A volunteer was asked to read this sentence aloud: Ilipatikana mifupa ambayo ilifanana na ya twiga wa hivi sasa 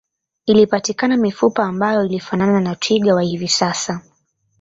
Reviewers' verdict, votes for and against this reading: accepted, 2, 0